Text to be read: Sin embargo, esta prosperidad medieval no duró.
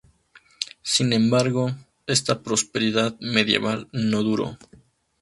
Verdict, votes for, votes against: accepted, 4, 0